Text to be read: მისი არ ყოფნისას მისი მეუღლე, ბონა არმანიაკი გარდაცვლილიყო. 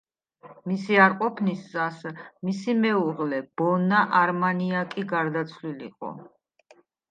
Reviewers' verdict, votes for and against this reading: accepted, 2, 0